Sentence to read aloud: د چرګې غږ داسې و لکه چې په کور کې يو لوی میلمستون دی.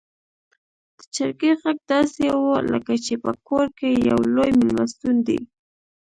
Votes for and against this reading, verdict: 2, 0, accepted